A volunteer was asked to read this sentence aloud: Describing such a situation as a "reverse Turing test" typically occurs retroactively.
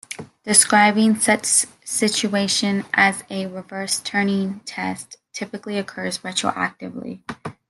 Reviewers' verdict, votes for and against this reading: accepted, 2, 1